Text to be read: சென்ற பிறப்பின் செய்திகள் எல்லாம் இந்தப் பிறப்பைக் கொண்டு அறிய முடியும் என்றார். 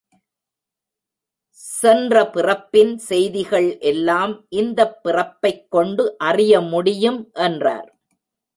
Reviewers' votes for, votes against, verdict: 2, 0, accepted